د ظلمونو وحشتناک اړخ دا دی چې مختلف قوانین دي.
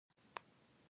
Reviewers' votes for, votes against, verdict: 0, 2, rejected